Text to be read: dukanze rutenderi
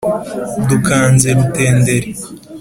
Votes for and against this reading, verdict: 2, 0, accepted